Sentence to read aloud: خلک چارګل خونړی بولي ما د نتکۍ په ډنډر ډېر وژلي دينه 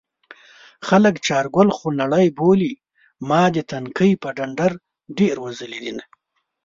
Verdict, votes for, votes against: rejected, 1, 2